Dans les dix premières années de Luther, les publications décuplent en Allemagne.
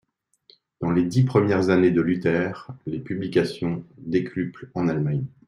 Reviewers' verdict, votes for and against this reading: accepted, 2, 0